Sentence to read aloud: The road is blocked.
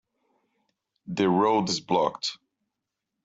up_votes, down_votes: 2, 1